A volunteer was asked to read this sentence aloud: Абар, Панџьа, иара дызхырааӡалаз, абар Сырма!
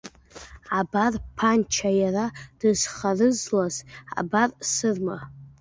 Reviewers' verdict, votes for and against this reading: rejected, 0, 2